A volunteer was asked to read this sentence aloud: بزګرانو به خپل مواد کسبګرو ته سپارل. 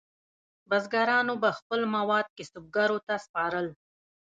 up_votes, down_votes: 2, 0